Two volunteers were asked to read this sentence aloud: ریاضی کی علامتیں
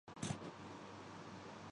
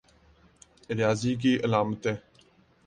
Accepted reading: second